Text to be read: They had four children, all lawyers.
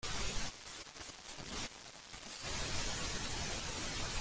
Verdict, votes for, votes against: rejected, 0, 2